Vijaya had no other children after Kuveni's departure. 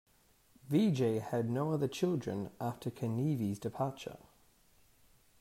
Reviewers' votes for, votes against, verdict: 0, 2, rejected